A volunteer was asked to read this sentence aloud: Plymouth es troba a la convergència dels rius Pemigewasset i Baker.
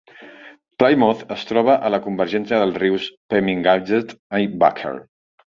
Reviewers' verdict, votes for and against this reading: accepted, 2, 1